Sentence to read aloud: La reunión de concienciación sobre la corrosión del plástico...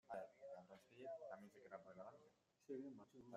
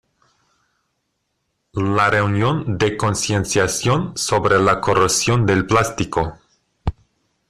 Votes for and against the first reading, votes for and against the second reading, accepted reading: 0, 2, 2, 0, second